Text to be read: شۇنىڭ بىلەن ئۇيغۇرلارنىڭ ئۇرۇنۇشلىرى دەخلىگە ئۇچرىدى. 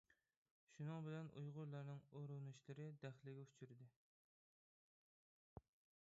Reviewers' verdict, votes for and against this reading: rejected, 0, 2